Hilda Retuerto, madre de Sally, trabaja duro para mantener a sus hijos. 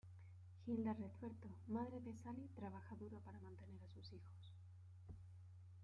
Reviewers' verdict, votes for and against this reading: rejected, 0, 2